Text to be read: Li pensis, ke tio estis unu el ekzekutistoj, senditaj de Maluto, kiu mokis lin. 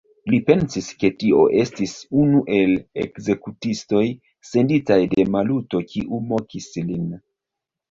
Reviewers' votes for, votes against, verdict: 1, 3, rejected